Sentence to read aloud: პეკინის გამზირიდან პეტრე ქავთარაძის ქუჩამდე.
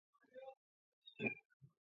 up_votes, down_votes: 1, 2